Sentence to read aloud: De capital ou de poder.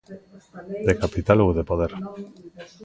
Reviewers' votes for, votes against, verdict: 0, 2, rejected